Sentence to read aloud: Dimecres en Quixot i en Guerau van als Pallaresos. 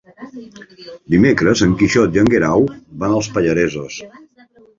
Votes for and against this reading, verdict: 2, 3, rejected